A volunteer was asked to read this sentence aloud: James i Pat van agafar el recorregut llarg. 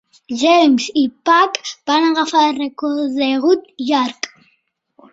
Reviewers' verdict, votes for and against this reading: accepted, 3, 0